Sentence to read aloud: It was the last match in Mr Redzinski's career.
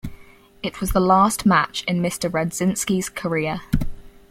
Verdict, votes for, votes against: accepted, 4, 0